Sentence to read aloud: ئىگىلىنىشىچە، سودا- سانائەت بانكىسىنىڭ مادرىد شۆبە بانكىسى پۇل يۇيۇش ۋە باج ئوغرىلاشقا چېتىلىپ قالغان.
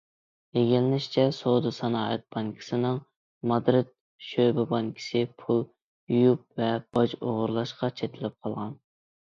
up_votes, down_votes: 1, 2